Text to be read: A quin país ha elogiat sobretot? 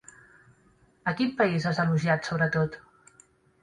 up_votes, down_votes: 1, 2